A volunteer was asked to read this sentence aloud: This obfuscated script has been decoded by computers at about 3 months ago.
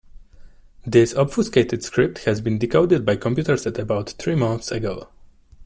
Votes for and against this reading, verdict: 0, 2, rejected